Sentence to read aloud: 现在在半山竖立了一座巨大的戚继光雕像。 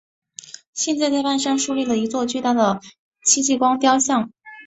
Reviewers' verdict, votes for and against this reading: accepted, 2, 0